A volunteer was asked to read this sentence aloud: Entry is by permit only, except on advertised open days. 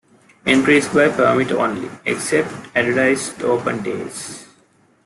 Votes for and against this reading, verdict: 2, 0, accepted